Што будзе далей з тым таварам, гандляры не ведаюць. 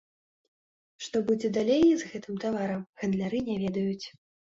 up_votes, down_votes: 1, 2